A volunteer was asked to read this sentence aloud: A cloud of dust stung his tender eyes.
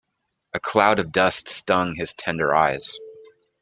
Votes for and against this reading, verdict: 3, 0, accepted